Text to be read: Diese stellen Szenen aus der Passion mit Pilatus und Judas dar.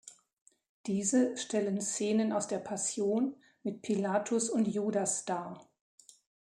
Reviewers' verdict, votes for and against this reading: rejected, 1, 2